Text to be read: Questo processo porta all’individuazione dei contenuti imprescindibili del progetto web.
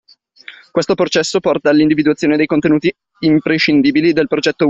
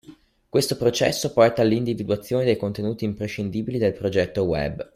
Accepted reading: second